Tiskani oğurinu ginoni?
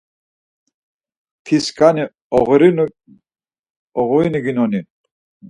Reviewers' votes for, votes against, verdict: 2, 4, rejected